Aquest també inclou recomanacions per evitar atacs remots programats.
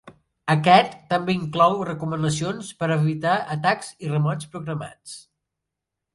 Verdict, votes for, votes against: rejected, 0, 2